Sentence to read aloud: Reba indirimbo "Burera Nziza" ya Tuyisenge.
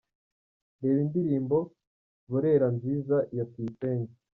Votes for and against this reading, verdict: 3, 0, accepted